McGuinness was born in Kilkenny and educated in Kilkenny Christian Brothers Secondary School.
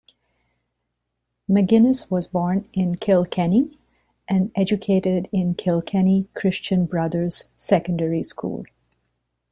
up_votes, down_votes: 2, 0